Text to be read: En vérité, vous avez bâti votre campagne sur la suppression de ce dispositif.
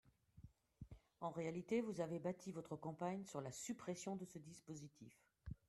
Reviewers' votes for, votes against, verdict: 2, 1, accepted